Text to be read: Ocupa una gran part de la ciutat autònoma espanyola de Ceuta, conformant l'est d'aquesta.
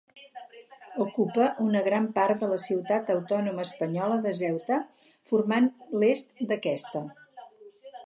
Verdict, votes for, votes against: rejected, 2, 2